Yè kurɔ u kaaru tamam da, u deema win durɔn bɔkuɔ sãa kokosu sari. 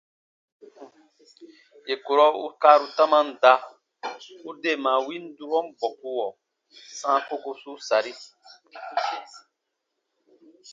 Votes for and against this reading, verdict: 2, 0, accepted